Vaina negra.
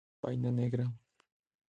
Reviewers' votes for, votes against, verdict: 2, 0, accepted